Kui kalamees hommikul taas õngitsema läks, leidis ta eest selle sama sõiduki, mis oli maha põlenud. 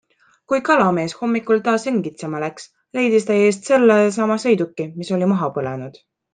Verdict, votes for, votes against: accepted, 2, 0